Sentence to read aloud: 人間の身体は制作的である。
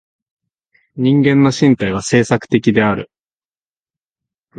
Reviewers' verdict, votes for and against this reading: accepted, 2, 0